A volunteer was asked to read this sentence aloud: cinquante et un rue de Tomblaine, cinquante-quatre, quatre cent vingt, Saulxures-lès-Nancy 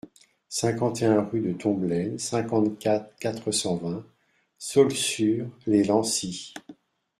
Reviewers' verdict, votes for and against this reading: accepted, 2, 0